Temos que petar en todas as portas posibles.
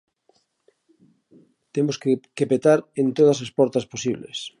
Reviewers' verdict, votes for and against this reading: rejected, 1, 2